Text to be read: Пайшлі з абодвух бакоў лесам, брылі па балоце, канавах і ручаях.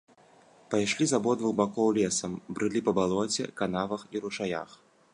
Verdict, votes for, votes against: accepted, 2, 0